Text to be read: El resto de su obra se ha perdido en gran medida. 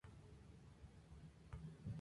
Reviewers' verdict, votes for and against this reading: rejected, 0, 2